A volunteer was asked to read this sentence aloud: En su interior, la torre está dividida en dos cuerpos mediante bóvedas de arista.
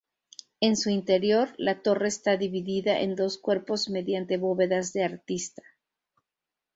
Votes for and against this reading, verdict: 0, 2, rejected